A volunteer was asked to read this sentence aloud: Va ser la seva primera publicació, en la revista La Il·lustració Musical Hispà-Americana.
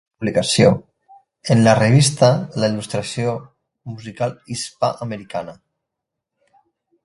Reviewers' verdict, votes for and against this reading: rejected, 0, 2